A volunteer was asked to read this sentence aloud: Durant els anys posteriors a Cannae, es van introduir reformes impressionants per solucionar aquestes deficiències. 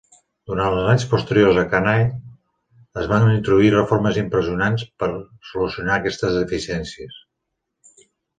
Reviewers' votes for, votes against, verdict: 2, 1, accepted